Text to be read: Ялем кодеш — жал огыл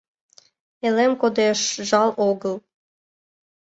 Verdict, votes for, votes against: accepted, 2, 0